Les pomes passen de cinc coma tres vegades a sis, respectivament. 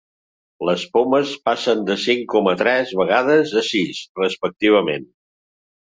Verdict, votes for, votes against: accepted, 3, 0